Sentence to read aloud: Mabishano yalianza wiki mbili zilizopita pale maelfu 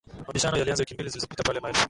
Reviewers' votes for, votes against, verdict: 1, 2, rejected